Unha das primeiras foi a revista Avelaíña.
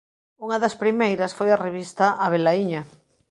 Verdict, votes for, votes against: accepted, 3, 0